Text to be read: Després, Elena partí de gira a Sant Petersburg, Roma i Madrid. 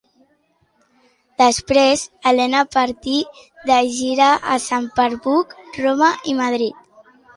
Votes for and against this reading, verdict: 0, 2, rejected